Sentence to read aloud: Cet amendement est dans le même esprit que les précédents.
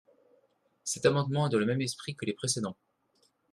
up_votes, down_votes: 1, 2